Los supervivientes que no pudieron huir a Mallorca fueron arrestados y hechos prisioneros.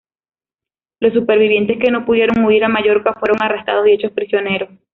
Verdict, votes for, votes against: accepted, 2, 0